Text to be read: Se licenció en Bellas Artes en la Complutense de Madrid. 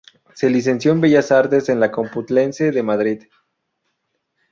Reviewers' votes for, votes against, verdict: 2, 0, accepted